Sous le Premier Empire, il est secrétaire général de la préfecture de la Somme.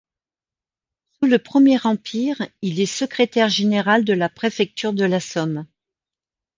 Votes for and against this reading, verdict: 0, 2, rejected